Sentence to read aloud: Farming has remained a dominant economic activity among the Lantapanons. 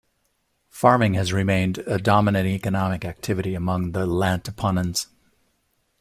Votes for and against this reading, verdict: 2, 0, accepted